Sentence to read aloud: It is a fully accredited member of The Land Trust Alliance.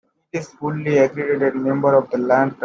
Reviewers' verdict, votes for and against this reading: rejected, 0, 2